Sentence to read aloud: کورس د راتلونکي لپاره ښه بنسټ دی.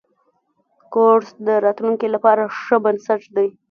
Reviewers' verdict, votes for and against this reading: accepted, 2, 0